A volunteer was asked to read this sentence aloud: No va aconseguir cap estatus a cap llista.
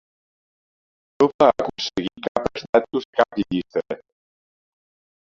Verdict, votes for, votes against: rejected, 0, 2